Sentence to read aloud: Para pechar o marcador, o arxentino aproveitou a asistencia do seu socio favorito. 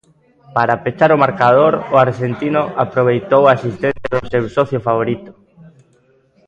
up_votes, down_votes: 1, 2